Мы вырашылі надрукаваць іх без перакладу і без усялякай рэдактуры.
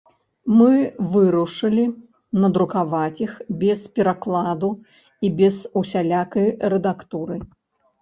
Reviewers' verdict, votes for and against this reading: rejected, 1, 2